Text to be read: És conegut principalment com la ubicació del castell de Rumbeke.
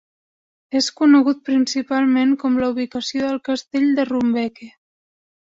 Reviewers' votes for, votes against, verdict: 2, 0, accepted